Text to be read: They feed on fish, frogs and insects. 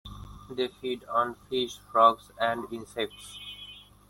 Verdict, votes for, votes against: accepted, 2, 1